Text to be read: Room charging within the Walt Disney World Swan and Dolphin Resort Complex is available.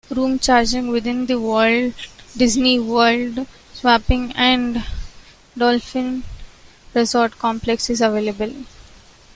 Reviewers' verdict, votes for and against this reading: rejected, 0, 2